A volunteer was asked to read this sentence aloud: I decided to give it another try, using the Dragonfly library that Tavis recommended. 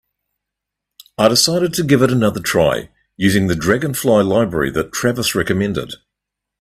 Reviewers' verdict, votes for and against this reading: rejected, 0, 2